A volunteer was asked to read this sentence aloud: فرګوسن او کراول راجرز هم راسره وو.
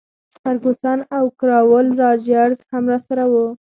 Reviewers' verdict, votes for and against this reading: rejected, 2, 4